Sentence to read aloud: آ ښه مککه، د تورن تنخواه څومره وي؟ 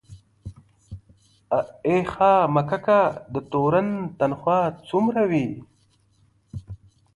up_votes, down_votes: 0, 2